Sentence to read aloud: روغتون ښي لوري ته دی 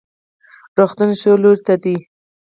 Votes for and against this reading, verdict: 0, 4, rejected